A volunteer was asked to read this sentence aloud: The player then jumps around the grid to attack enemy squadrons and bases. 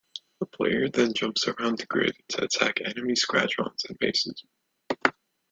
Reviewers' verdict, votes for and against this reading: rejected, 1, 2